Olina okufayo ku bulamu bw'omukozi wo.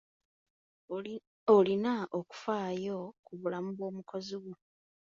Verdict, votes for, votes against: rejected, 0, 2